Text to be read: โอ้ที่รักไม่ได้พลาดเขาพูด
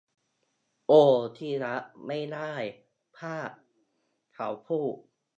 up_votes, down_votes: 0, 2